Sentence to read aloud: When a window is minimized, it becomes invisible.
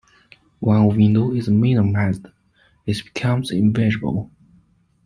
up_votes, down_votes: 0, 2